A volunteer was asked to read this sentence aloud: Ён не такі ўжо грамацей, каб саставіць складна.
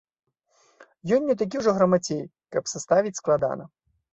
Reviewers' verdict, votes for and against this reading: rejected, 1, 2